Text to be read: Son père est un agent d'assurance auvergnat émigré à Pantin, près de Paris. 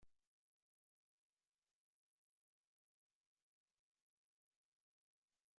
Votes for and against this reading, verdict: 0, 2, rejected